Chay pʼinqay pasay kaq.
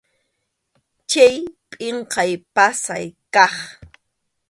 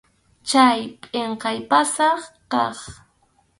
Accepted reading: first